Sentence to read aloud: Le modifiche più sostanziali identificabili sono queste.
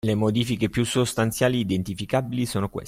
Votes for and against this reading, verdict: 0, 2, rejected